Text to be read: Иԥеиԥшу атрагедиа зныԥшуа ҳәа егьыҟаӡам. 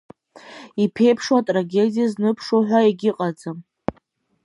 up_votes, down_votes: 2, 0